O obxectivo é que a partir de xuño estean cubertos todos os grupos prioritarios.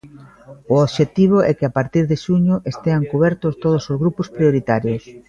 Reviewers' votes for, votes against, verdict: 3, 1, accepted